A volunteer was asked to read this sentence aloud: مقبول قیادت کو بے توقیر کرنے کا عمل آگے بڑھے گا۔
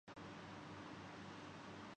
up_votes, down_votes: 0, 2